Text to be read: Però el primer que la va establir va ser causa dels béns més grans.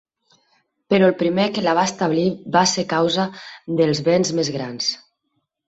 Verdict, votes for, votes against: accepted, 4, 0